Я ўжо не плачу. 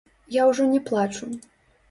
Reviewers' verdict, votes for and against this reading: accepted, 2, 1